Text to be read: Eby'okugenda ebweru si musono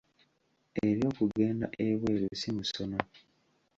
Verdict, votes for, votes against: accepted, 2, 1